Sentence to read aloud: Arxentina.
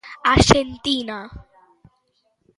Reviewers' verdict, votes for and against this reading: accepted, 2, 0